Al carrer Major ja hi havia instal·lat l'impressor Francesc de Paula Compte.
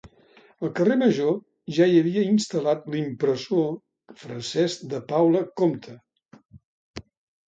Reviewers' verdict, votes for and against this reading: accepted, 2, 0